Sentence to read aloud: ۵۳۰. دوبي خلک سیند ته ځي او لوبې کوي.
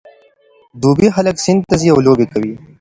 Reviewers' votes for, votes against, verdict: 0, 2, rejected